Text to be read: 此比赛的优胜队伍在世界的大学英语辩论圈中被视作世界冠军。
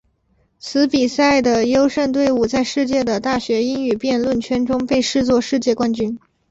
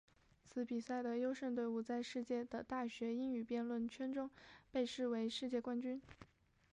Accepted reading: first